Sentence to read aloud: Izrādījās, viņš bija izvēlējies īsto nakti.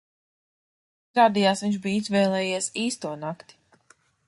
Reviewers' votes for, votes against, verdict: 0, 2, rejected